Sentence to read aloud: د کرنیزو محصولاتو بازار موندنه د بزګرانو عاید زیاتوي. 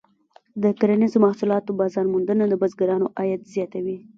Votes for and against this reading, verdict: 1, 2, rejected